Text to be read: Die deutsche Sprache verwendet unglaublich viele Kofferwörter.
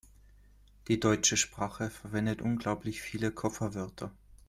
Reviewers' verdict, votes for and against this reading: accepted, 2, 0